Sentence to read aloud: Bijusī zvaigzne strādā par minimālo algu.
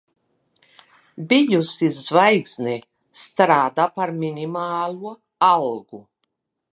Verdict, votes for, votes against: accepted, 3, 1